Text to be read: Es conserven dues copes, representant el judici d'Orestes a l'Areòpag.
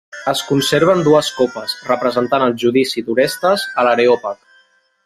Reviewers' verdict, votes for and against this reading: rejected, 0, 2